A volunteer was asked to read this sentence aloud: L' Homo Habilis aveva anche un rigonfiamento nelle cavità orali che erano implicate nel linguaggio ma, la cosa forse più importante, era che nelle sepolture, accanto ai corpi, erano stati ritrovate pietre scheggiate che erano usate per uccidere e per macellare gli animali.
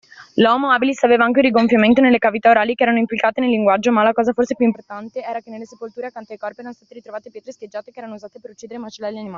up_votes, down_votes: 0, 2